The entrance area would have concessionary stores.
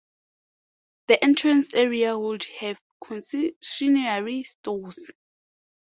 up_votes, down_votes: 1, 5